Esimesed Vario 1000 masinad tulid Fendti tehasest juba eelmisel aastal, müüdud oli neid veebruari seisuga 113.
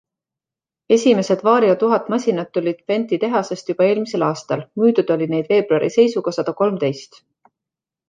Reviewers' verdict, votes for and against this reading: rejected, 0, 2